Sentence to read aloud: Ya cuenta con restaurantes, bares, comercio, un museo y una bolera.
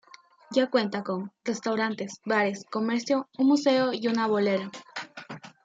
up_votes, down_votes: 3, 1